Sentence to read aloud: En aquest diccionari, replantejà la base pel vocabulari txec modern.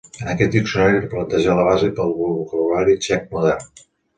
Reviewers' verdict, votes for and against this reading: rejected, 1, 2